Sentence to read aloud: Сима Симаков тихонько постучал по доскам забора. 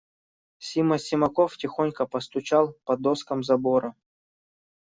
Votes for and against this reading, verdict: 2, 0, accepted